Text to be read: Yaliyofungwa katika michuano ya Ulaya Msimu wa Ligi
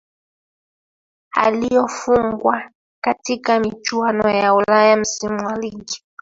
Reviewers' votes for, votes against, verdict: 1, 2, rejected